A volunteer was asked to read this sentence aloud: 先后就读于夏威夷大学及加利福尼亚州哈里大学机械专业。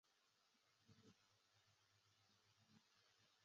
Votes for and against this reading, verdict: 0, 3, rejected